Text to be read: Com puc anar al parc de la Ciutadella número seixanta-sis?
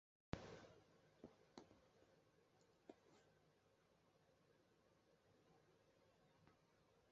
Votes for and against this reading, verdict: 0, 2, rejected